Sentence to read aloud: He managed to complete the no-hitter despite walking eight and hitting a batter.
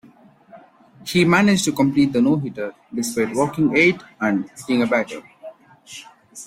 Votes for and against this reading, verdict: 1, 2, rejected